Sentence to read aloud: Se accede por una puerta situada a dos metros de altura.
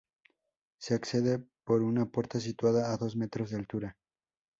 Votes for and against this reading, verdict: 2, 2, rejected